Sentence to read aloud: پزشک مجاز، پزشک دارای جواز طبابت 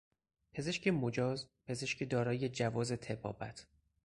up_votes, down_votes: 0, 2